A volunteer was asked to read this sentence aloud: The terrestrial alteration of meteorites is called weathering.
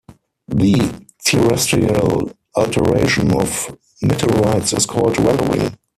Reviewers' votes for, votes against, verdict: 2, 4, rejected